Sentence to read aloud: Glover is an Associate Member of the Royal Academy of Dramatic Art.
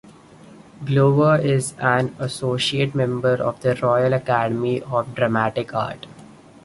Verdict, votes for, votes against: accepted, 2, 0